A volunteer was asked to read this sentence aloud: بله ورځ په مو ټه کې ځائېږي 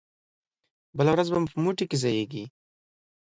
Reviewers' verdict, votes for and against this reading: rejected, 1, 2